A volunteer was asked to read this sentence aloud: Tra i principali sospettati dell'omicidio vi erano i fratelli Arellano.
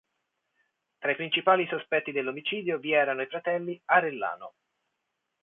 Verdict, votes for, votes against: rejected, 0, 2